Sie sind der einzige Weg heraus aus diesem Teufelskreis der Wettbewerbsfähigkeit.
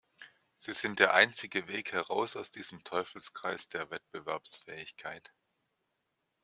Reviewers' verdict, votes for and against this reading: accepted, 2, 0